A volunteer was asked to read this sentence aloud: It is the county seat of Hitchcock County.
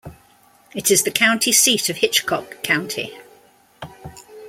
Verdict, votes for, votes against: accepted, 2, 0